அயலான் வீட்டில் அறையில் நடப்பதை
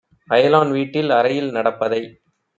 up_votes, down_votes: 2, 0